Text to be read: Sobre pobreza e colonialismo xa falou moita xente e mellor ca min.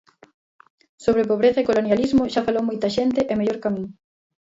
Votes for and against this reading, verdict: 0, 2, rejected